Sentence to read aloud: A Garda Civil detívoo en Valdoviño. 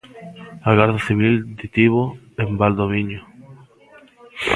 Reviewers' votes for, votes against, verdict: 0, 2, rejected